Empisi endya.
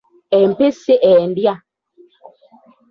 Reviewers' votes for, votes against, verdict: 2, 0, accepted